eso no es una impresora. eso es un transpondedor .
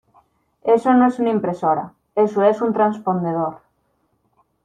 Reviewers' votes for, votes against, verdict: 2, 0, accepted